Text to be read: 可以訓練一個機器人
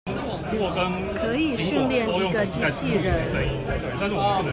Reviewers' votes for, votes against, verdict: 0, 2, rejected